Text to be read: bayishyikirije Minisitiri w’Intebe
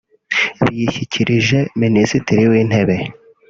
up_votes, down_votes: 2, 3